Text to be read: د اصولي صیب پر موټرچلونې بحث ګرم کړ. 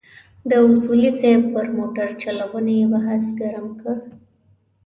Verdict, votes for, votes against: accepted, 3, 0